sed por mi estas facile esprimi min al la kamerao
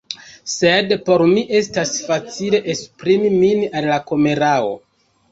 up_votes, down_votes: 1, 3